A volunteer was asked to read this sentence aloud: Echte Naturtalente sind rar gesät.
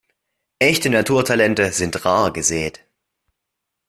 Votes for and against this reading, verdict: 3, 0, accepted